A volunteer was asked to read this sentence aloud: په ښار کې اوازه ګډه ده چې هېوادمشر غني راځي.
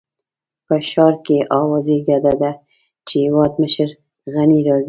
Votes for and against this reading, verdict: 0, 2, rejected